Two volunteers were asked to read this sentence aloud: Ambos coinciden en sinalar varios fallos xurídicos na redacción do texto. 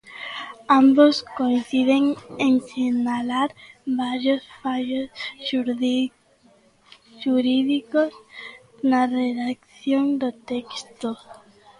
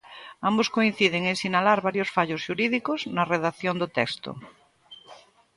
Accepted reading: second